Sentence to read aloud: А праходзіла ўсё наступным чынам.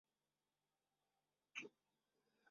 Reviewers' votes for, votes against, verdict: 0, 2, rejected